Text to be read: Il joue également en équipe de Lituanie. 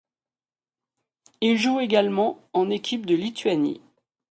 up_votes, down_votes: 2, 0